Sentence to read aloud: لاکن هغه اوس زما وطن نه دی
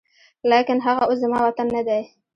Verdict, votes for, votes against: rejected, 0, 2